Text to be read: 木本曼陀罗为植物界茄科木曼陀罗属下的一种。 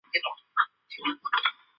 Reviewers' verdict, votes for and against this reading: rejected, 1, 4